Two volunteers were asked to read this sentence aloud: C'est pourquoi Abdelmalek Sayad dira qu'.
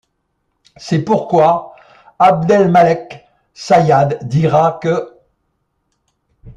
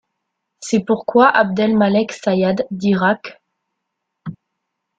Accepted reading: second